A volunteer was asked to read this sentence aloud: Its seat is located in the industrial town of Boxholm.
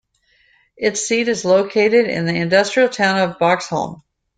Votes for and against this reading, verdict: 2, 0, accepted